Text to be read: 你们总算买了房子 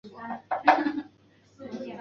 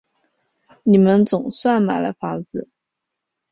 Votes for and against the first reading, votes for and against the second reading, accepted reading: 0, 5, 5, 0, second